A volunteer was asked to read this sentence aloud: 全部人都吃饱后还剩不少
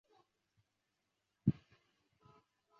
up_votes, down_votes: 2, 4